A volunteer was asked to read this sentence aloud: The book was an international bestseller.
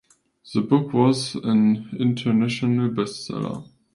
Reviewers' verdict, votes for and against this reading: accepted, 2, 1